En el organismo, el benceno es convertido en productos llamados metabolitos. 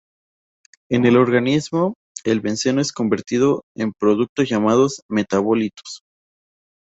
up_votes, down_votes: 2, 0